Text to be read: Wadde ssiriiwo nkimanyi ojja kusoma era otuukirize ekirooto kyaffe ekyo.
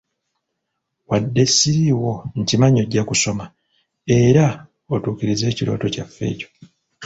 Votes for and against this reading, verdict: 1, 2, rejected